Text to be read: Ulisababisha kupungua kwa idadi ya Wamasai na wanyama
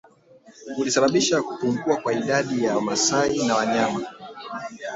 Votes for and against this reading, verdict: 1, 2, rejected